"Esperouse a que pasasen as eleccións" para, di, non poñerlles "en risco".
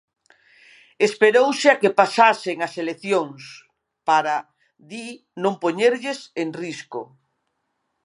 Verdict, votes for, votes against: accepted, 3, 0